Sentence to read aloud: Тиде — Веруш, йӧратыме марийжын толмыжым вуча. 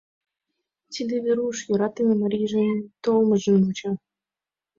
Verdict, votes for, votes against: accepted, 2, 0